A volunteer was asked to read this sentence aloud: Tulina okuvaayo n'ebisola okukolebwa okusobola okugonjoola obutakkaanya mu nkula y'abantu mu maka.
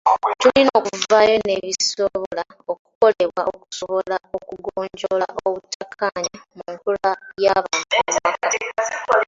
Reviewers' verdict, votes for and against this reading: rejected, 0, 2